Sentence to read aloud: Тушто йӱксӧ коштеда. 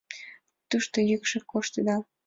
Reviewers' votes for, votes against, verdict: 0, 2, rejected